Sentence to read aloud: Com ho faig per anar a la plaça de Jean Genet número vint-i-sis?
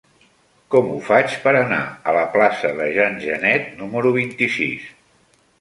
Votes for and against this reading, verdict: 3, 0, accepted